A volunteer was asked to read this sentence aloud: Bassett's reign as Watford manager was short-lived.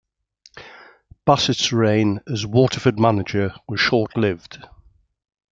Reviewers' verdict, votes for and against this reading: rejected, 0, 2